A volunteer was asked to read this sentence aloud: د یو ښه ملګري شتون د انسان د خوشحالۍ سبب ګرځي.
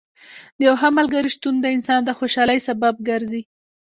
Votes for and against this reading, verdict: 2, 1, accepted